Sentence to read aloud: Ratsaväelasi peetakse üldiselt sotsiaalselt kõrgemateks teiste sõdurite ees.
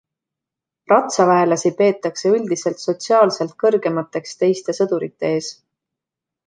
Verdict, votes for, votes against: accepted, 2, 0